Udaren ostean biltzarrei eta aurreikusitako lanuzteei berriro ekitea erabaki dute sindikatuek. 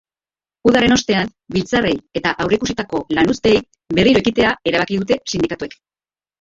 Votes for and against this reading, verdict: 1, 2, rejected